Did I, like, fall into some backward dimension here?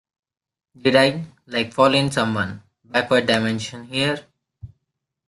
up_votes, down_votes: 0, 2